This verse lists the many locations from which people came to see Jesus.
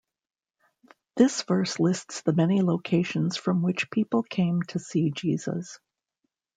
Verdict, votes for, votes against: accepted, 2, 0